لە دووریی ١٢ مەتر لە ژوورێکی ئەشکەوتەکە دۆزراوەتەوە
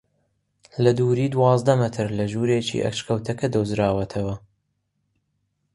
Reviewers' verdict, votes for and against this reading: rejected, 0, 2